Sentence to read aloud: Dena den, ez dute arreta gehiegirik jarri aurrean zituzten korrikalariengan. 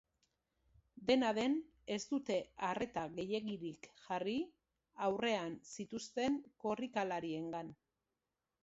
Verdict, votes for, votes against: accepted, 2, 0